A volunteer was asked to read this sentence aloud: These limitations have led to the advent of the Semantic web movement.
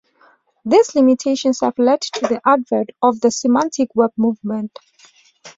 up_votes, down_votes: 2, 0